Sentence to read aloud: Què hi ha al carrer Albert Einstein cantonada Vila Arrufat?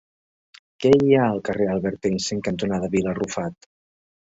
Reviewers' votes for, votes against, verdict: 1, 2, rejected